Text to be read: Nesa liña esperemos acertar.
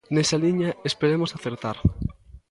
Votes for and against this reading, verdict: 0, 2, rejected